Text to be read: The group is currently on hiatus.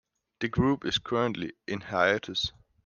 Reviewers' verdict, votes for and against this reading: rejected, 0, 2